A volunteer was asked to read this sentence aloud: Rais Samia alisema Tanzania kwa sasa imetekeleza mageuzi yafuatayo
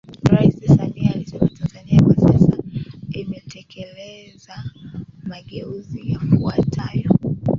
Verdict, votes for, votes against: rejected, 1, 2